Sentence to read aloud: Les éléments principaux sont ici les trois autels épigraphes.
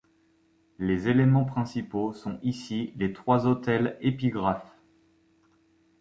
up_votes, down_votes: 2, 0